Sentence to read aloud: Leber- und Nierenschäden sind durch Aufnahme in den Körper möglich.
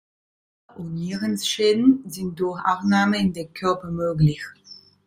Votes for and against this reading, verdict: 0, 3, rejected